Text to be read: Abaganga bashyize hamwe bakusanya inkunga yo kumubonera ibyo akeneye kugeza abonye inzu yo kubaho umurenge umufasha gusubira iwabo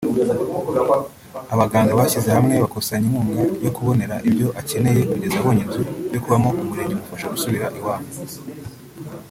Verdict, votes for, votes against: rejected, 0, 2